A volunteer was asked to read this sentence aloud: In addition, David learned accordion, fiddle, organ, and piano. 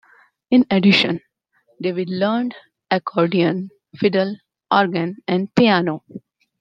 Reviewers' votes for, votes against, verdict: 2, 0, accepted